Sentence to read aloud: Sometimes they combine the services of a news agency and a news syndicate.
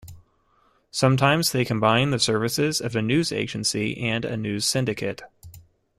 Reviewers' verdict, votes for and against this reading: accepted, 2, 0